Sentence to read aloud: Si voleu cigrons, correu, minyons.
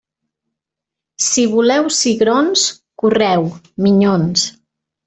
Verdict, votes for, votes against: accepted, 3, 0